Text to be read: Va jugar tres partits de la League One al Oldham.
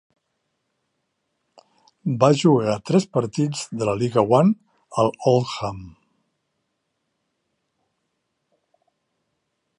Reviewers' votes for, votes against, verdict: 2, 0, accepted